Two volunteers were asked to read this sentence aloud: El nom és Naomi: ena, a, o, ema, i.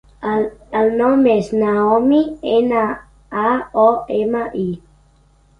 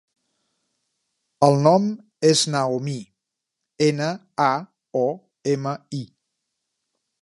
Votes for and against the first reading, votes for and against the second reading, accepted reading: 1, 2, 2, 0, second